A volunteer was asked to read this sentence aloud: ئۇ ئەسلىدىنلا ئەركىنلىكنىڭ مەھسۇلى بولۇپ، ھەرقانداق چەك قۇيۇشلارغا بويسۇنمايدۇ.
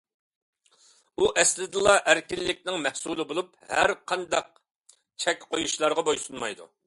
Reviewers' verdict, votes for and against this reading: accepted, 2, 0